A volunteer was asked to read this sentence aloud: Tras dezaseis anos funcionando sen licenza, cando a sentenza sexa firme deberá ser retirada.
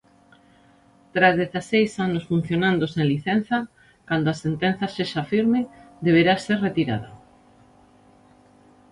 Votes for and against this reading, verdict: 1, 2, rejected